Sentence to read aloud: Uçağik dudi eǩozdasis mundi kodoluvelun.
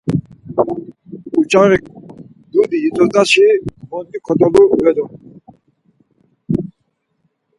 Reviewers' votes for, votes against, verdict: 2, 4, rejected